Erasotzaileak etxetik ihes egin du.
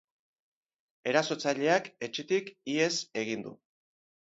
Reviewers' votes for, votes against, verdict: 2, 2, rejected